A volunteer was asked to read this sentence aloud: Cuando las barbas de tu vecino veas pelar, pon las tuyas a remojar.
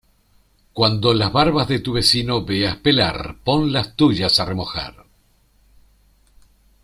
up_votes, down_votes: 2, 0